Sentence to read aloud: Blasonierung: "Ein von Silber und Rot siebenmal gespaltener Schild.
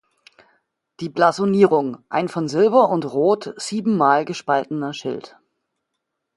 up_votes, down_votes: 0, 2